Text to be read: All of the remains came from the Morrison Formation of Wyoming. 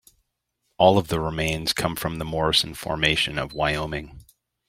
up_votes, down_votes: 1, 2